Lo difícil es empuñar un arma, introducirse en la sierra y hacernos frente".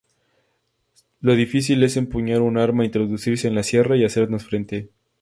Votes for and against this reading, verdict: 6, 0, accepted